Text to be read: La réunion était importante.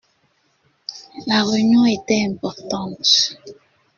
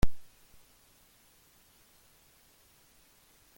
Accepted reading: first